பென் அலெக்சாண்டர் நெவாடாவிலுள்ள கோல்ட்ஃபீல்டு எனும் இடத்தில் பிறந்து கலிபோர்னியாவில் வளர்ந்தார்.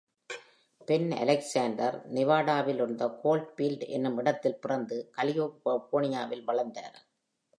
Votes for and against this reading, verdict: 1, 2, rejected